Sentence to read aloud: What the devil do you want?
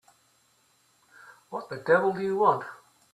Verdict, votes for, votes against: accepted, 2, 0